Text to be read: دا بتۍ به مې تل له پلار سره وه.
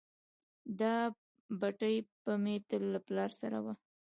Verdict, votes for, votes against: rejected, 1, 2